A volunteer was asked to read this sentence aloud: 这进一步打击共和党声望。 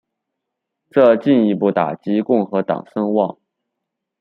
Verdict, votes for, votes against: accepted, 2, 0